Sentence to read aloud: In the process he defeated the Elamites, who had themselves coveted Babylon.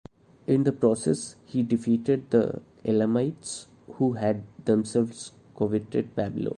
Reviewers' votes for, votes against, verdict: 1, 2, rejected